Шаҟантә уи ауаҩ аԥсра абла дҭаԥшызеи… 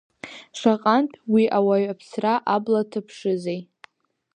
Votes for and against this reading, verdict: 2, 0, accepted